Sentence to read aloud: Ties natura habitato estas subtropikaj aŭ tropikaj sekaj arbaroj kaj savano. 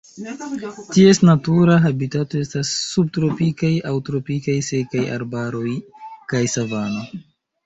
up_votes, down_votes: 0, 2